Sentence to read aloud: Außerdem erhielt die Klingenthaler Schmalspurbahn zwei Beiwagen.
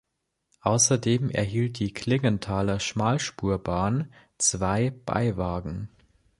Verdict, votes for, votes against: accepted, 2, 0